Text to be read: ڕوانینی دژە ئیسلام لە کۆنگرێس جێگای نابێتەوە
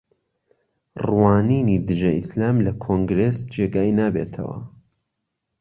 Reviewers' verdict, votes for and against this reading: accepted, 2, 0